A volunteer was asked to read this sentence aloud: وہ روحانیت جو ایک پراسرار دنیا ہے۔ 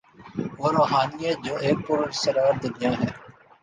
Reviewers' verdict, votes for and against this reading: accepted, 2, 0